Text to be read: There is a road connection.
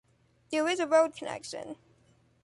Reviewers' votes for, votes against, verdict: 3, 0, accepted